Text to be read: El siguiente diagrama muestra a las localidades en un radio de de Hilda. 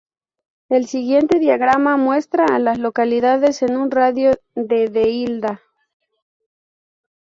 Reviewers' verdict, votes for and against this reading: rejected, 0, 2